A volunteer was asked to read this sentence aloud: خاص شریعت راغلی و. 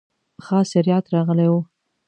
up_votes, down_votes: 2, 0